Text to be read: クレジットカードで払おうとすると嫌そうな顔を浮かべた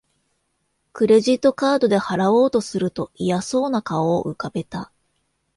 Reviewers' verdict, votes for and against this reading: accepted, 2, 0